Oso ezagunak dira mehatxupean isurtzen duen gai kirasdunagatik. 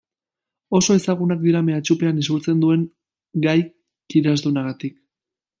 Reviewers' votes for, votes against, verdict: 0, 2, rejected